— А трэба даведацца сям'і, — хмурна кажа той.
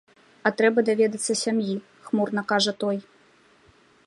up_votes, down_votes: 2, 0